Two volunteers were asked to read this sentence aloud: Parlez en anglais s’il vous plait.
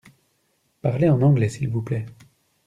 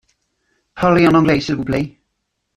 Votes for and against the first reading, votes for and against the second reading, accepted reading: 2, 0, 1, 2, first